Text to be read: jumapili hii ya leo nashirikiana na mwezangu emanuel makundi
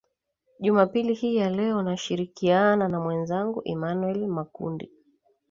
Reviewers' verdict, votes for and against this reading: accepted, 2, 0